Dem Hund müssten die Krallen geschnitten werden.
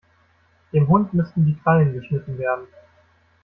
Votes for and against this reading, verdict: 2, 0, accepted